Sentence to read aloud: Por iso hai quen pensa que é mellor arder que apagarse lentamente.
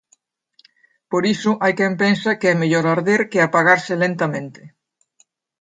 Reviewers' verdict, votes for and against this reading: accepted, 2, 0